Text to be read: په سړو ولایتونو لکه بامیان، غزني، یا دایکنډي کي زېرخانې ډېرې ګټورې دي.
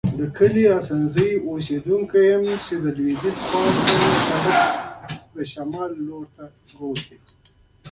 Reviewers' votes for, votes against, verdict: 0, 2, rejected